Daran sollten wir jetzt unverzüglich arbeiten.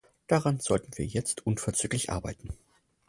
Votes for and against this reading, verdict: 4, 0, accepted